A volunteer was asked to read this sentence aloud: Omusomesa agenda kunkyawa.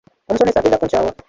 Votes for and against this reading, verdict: 1, 2, rejected